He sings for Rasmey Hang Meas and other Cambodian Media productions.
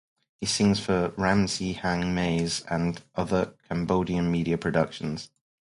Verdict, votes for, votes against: rejected, 2, 2